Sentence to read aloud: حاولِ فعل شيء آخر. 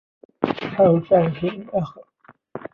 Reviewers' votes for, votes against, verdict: 1, 2, rejected